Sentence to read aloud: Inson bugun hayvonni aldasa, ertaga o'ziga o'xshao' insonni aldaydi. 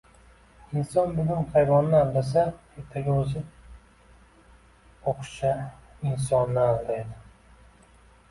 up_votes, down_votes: 0, 2